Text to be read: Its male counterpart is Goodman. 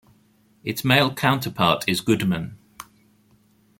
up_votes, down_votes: 2, 0